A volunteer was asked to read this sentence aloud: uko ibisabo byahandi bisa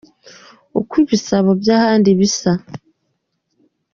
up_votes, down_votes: 2, 0